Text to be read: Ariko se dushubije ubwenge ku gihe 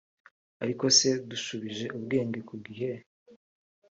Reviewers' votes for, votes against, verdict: 1, 2, rejected